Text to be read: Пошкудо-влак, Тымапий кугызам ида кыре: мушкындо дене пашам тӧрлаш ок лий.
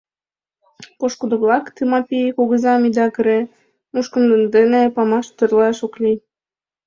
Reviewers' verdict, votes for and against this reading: rejected, 1, 2